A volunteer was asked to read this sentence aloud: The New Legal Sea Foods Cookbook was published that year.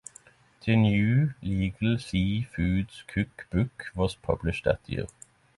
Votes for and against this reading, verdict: 3, 0, accepted